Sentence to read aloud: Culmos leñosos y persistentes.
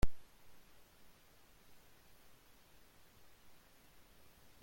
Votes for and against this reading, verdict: 0, 2, rejected